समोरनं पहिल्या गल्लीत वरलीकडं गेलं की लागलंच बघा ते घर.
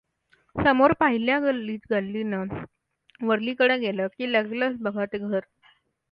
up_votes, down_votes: 0, 2